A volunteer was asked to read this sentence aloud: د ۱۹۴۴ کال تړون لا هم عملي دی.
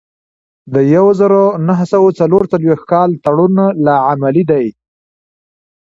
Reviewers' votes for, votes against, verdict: 0, 2, rejected